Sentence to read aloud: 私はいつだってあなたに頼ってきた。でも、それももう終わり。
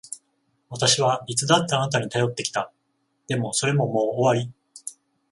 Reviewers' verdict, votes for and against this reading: accepted, 14, 0